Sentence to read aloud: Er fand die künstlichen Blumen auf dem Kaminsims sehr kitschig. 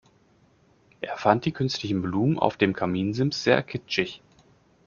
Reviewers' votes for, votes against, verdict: 2, 0, accepted